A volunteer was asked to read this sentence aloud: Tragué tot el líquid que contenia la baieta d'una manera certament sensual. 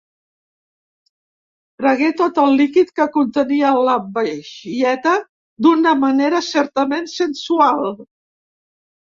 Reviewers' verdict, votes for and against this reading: rejected, 0, 2